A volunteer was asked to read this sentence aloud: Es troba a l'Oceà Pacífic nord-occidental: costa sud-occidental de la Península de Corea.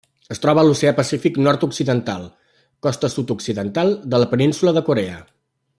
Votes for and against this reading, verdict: 3, 0, accepted